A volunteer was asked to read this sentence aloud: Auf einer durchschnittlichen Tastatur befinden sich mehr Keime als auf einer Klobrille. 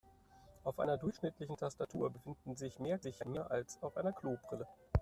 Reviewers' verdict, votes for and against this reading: rejected, 0, 2